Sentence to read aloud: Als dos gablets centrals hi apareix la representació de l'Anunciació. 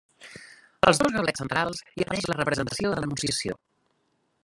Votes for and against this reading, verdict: 0, 2, rejected